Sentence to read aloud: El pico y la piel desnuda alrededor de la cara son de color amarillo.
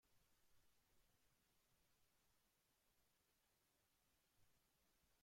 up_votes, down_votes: 0, 2